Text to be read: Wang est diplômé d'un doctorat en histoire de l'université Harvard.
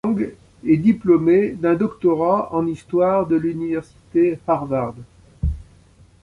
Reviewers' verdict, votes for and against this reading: accepted, 2, 1